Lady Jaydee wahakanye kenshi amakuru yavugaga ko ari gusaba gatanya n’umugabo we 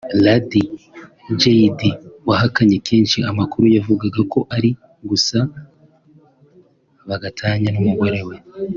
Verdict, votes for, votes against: accepted, 3, 0